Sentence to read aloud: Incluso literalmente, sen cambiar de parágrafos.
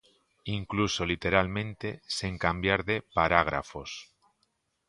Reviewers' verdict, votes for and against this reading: accepted, 2, 0